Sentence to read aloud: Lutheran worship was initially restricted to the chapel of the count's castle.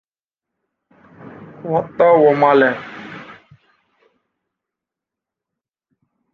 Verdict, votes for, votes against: rejected, 0, 2